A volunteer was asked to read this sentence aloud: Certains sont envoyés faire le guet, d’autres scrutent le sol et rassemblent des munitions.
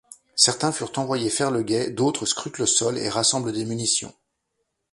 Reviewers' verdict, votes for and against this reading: rejected, 0, 2